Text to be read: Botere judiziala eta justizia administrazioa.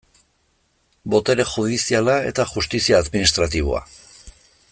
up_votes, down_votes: 0, 2